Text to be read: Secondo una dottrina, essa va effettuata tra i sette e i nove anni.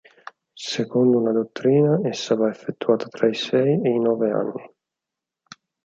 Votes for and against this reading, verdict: 0, 4, rejected